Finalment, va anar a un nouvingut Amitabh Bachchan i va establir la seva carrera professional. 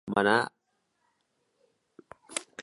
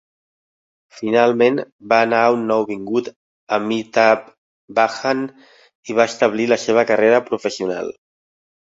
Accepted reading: second